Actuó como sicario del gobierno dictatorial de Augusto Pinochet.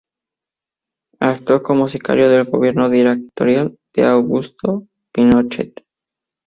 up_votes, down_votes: 0, 2